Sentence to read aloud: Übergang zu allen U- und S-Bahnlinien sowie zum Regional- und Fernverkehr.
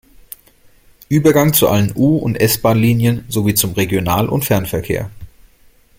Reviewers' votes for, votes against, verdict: 2, 0, accepted